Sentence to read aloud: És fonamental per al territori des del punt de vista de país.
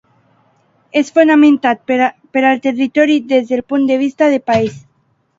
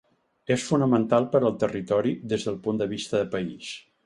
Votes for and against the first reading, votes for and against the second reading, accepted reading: 0, 2, 4, 0, second